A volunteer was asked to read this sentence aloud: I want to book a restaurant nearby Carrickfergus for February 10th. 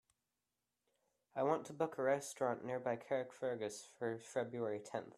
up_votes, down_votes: 0, 2